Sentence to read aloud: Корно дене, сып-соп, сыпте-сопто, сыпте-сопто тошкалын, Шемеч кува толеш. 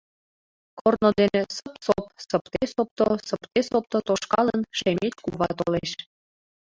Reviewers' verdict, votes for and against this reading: rejected, 1, 2